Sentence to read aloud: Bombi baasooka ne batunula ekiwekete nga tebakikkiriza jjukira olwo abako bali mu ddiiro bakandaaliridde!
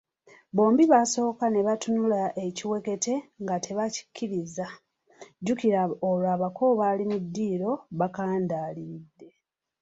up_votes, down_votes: 2, 0